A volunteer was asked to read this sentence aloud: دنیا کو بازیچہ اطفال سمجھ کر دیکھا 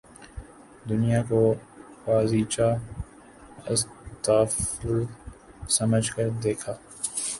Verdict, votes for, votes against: rejected, 1, 2